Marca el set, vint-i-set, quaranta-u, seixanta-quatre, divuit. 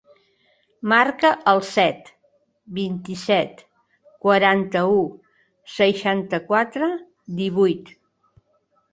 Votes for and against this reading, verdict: 6, 0, accepted